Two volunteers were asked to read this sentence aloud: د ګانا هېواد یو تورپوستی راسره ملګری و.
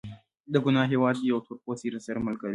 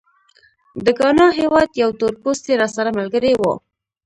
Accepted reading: first